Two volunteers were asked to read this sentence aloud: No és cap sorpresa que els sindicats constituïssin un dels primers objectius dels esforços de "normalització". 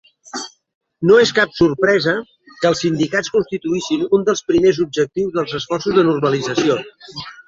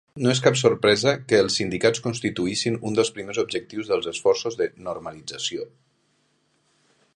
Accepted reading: second